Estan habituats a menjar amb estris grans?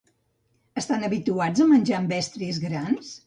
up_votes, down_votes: 2, 0